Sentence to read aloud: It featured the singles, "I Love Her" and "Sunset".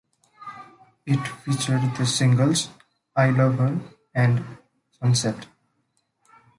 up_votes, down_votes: 1, 2